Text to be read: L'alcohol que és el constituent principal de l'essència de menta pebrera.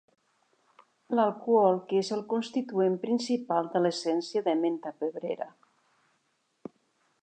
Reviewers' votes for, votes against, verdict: 3, 0, accepted